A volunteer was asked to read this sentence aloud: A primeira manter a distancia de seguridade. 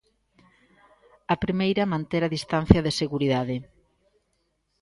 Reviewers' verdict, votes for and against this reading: accepted, 2, 0